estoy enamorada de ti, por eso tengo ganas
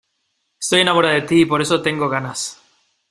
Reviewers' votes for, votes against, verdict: 1, 2, rejected